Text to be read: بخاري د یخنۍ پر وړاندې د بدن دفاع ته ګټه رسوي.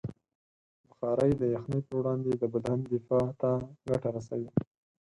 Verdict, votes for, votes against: accepted, 4, 0